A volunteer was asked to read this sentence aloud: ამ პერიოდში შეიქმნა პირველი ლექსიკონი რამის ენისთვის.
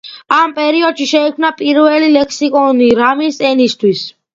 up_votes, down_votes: 2, 0